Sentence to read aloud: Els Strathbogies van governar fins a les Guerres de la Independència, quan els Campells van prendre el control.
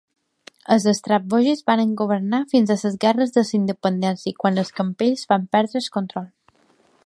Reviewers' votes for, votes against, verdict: 2, 1, accepted